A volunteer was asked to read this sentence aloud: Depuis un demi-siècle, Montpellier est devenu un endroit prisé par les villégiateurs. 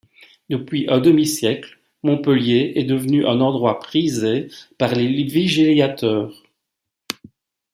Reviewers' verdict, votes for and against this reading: rejected, 1, 2